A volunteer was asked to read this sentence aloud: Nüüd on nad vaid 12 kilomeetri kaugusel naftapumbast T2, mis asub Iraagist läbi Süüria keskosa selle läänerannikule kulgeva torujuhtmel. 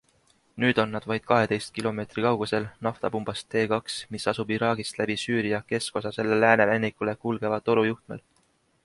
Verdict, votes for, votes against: rejected, 0, 2